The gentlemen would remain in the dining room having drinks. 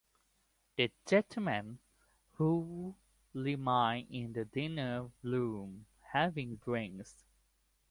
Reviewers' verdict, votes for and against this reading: accepted, 2, 1